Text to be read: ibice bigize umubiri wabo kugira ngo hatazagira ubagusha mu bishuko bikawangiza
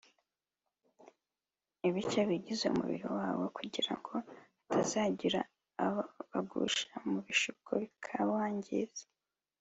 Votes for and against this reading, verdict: 1, 3, rejected